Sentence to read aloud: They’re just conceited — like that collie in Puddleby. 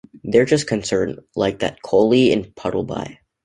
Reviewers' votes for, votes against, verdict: 1, 2, rejected